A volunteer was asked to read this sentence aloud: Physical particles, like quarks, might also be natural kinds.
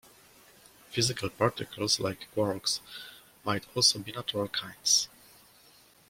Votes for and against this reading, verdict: 2, 0, accepted